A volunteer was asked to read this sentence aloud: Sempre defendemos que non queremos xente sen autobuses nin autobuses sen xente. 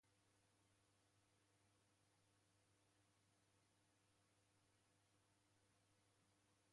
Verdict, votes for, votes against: rejected, 0, 2